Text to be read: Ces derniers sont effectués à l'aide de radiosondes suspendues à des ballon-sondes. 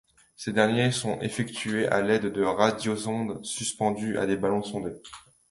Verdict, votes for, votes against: rejected, 0, 2